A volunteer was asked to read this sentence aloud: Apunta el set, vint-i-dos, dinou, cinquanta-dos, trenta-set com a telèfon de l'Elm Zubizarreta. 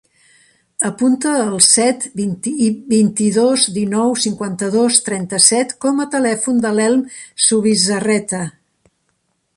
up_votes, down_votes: 1, 2